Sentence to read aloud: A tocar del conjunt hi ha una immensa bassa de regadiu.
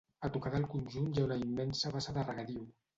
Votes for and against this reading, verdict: 0, 2, rejected